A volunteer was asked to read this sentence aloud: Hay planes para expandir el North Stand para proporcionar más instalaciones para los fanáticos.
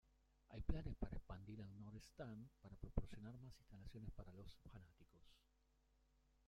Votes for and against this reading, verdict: 0, 2, rejected